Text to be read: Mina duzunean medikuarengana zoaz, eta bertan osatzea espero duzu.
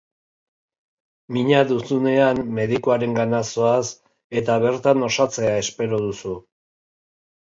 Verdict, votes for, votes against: accepted, 2, 0